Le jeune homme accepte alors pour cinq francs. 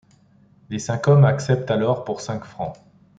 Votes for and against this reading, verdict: 1, 2, rejected